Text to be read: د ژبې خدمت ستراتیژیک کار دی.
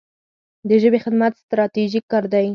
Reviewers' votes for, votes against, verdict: 4, 0, accepted